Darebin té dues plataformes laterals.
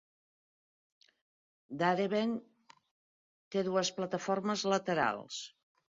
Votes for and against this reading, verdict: 2, 0, accepted